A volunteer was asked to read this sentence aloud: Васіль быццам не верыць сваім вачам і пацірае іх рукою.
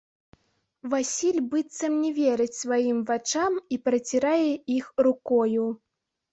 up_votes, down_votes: 0, 2